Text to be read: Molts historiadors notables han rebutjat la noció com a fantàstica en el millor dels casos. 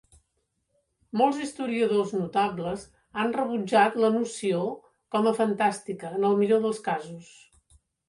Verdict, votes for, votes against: accepted, 3, 0